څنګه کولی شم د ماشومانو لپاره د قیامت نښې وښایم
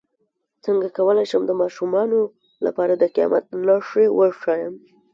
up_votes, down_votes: 1, 2